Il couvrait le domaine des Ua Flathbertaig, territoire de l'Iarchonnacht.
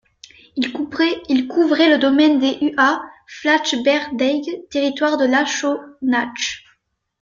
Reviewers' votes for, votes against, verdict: 0, 2, rejected